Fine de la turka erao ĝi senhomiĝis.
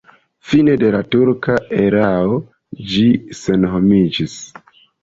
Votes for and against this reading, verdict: 2, 1, accepted